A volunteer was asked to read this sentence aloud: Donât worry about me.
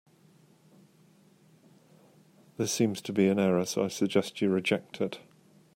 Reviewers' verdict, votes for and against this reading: rejected, 0, 2